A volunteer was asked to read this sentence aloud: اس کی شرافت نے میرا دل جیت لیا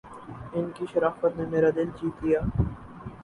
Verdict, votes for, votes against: rejected, 0, 4